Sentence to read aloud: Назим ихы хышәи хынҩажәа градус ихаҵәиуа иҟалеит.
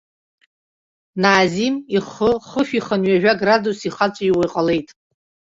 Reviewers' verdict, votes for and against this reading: rejected, 1, 2